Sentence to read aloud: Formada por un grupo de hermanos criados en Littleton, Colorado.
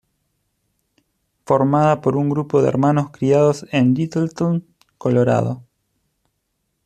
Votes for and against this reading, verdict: 2, 0, accepted